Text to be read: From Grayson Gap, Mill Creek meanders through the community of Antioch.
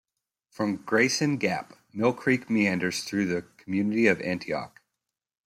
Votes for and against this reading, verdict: 2, 0, accepted